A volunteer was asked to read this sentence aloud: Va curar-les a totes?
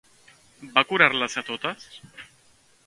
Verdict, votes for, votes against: accepted, 2, 0